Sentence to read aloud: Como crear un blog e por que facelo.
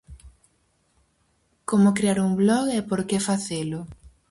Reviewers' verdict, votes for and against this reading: accepted, 4, 0